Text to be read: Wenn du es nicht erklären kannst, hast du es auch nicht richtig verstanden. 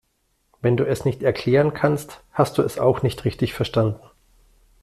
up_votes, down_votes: 2, 0